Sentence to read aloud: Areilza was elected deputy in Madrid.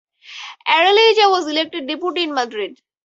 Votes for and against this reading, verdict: 0, 2, rejected